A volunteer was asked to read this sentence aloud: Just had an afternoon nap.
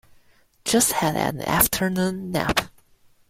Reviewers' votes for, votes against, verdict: 0, 2, rejected